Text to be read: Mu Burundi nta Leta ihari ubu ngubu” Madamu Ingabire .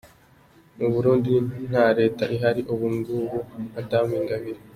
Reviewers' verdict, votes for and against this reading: accepted, 2, 0